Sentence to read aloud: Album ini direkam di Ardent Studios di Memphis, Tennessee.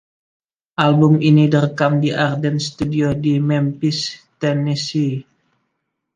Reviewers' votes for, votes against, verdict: 2, 1, accepted